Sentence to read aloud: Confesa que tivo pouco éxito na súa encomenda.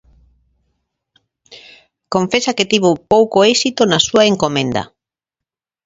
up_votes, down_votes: 2, 0